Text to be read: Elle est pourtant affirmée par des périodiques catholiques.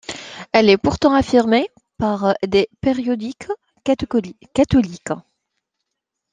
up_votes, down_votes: 0, 2